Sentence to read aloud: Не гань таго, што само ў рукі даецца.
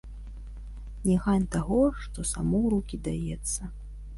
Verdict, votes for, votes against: accepted, 2, 0